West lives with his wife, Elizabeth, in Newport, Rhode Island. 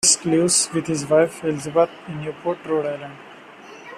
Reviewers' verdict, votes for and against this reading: rejected, 0, 2